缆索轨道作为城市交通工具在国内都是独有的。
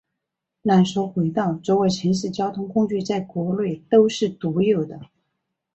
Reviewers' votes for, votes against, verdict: 4, 0, accepted